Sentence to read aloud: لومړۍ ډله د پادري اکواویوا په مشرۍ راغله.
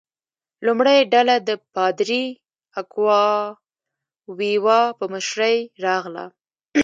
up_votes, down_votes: 2, 0